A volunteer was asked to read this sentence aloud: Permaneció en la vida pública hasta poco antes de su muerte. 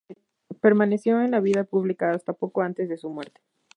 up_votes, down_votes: 2, 2